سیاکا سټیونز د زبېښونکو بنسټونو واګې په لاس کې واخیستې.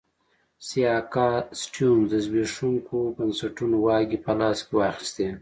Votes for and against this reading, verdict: 2, 0, accepted